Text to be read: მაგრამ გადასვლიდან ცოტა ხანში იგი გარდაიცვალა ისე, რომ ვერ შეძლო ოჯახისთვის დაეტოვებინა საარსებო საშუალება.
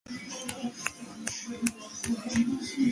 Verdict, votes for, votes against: rejected, 1, 2